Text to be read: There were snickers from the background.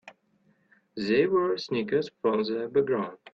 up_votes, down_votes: 0, 2